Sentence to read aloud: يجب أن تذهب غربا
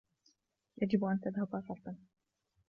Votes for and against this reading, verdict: 1, 2, rejected